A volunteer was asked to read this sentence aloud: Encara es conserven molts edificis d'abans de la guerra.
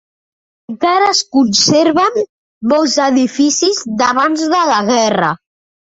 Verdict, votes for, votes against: accepted, 2, 0